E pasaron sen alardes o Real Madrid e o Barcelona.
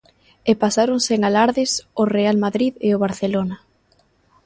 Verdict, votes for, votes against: accepted, 2, 0